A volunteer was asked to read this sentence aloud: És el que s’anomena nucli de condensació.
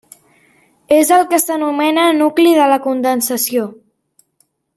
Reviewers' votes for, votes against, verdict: 0, 2, rejected